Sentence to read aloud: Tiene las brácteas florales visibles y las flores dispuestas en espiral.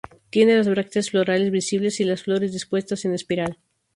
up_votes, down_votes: 2, 0